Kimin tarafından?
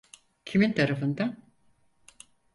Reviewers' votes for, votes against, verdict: 4, 0, accepted